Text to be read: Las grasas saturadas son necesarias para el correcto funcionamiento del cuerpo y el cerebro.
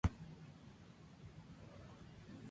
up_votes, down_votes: 0, 4